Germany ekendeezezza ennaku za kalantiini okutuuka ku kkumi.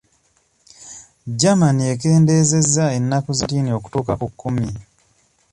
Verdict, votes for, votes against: rejected, 1, 2